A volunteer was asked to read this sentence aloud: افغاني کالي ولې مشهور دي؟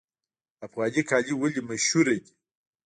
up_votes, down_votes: 0, 2